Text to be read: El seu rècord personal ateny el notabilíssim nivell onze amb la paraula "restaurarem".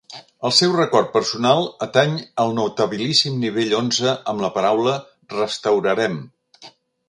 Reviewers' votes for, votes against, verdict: 3, 0, accepted